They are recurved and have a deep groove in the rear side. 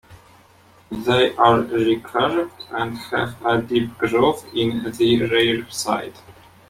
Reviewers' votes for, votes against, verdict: 1, 2, rejected